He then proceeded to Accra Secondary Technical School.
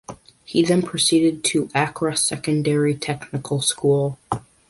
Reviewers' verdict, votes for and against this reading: accepted, 2, 0